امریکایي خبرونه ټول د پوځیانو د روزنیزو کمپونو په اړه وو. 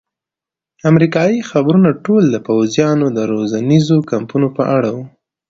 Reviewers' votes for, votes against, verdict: 2, 0, accepted